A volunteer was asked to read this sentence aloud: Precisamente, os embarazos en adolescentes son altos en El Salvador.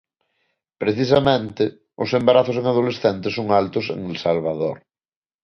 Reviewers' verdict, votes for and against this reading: accepted, 2, 0